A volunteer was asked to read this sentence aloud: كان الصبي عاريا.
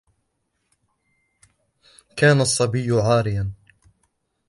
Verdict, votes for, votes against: accepted, 2, 0